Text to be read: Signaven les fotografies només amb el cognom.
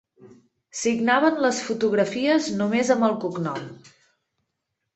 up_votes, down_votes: 2, 0